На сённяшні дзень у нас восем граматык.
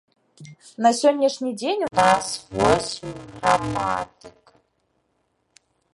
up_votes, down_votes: 0, 2